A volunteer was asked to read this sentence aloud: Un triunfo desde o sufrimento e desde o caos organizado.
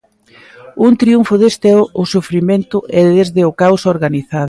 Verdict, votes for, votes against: rejected, 0, 2